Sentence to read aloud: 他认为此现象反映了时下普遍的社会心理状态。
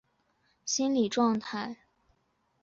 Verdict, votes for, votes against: rejected, 1, 3